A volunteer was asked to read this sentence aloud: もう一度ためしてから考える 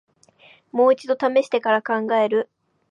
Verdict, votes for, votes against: accepted, 2, 0